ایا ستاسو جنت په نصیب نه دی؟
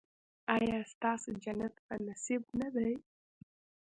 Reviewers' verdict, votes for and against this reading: accepted, 2, 0